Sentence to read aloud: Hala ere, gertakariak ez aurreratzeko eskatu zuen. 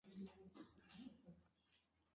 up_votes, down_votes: 0, 2